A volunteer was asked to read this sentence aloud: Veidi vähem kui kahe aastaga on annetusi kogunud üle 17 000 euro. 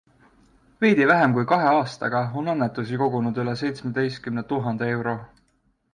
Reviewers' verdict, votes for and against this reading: rejected, 0, 2